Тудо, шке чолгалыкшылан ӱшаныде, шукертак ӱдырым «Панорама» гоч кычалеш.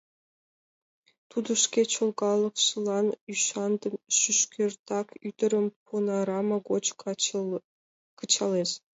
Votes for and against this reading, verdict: 1, 2, rejected